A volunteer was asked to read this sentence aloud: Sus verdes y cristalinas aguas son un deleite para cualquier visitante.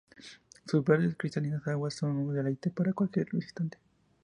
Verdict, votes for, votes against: accepted, 2, 0